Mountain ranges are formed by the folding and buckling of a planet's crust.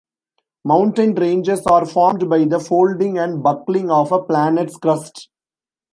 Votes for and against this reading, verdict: 2, 0, accepted